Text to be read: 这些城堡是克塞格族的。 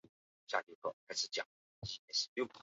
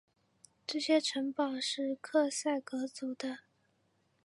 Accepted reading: second